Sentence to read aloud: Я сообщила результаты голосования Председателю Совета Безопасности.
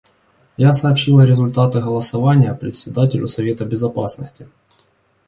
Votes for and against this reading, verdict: 2, 0, accepted